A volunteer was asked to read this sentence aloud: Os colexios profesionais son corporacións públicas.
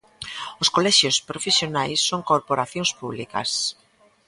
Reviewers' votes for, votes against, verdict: 2, 0, accepted